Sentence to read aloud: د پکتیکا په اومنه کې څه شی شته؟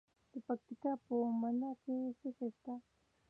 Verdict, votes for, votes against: accepted, 2, 0